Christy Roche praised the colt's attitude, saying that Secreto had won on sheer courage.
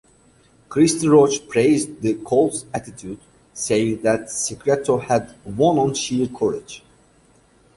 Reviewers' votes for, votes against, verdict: 2, 0, accepted